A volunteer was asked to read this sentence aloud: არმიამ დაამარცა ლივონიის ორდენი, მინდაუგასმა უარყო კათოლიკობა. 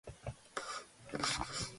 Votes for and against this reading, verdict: 0, 2, rejected